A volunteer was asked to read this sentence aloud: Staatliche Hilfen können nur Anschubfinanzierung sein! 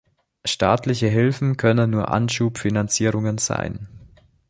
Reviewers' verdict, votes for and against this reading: rejected, 0, 2